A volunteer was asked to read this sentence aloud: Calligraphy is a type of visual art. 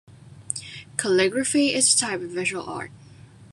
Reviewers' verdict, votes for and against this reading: accepted, 2, 0